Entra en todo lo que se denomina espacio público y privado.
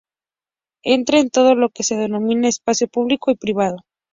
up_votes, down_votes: 2, 0